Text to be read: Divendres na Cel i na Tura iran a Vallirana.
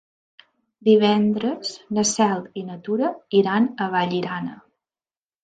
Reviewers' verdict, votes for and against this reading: accepted, 3, 0